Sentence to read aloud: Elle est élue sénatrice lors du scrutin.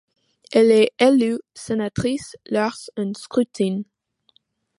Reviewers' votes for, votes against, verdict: 1, 2, rejected